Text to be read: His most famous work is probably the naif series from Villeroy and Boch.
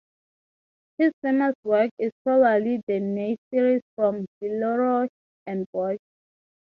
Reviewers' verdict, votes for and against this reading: accepted, 6, 3